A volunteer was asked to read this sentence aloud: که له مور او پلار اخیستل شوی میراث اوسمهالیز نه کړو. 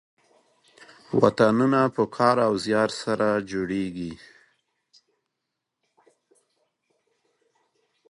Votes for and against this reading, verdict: 3, 5, rejected